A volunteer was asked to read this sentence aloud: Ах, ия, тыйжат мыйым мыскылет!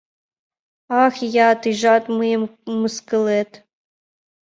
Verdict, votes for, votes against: accepted, 2, 0